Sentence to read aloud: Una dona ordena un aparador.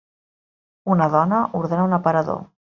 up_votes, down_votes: 4, 0